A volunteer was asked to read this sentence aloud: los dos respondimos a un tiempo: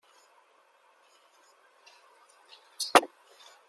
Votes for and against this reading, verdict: 0, 2, rejected